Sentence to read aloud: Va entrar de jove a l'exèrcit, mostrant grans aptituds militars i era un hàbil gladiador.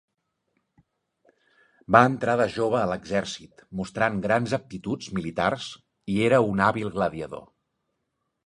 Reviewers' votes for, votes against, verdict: 4, 0, accepted